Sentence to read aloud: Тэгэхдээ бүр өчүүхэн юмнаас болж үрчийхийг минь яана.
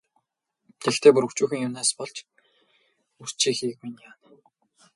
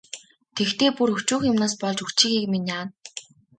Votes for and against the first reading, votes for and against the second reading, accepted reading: 0, 2, 2, 0, second